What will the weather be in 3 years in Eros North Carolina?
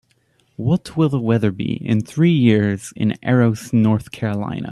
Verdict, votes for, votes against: rejected, 0, 2